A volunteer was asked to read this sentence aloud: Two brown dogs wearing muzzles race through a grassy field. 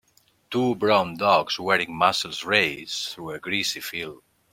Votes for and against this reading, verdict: 2, 1, accepted